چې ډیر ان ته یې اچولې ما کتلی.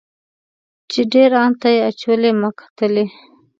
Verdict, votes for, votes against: accepted, 2, 0